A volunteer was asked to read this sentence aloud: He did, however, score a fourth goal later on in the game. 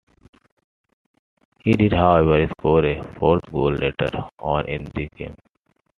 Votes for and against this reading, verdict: 2, 1, accepted